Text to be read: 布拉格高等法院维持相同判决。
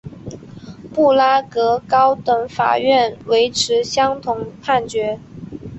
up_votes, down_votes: 2, 0